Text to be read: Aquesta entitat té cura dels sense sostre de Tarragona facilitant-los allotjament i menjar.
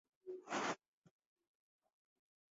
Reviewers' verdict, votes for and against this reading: rejected, 0, 2